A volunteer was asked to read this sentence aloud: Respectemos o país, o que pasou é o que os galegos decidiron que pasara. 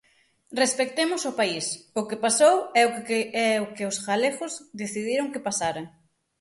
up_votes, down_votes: 0, 6